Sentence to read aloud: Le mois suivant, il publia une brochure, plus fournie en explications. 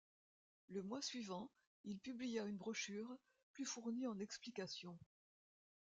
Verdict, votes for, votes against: accepted, 2, 1